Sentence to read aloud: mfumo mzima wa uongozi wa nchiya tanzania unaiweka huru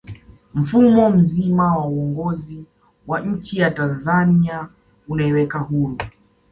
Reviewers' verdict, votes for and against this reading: accepted, 2, 0